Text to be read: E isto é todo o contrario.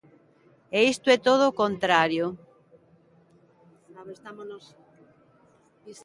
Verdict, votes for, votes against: rejected, 1, 2